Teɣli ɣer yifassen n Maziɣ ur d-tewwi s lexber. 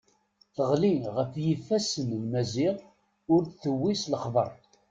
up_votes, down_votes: 1, 2